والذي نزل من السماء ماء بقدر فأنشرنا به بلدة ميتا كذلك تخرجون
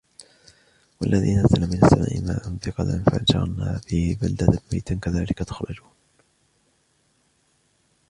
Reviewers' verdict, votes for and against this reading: rejected, 1, 2